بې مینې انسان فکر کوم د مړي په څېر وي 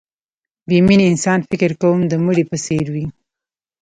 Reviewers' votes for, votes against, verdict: 1, 2, rejected